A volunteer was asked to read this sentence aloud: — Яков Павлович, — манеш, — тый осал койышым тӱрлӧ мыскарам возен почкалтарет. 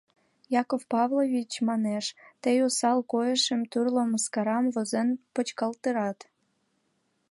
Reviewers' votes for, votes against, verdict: 0, 2, rejected